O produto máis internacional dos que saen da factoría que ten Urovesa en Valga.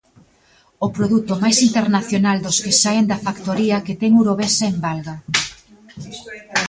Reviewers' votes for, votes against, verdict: 2, 1, accepted